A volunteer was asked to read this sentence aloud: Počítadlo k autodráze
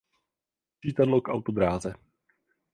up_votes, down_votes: 0, 4